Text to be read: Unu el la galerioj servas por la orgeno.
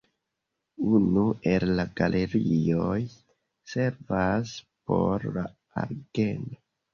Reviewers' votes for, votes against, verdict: 1, 2, rejected